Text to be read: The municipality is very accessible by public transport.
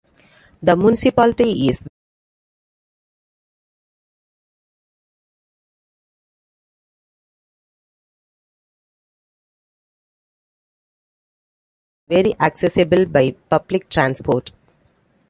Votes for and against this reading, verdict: 0, 2, rejected